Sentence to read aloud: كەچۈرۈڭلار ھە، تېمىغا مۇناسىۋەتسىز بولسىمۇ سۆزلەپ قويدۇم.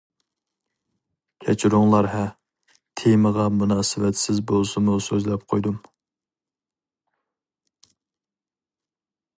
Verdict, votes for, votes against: accepted, 2, 0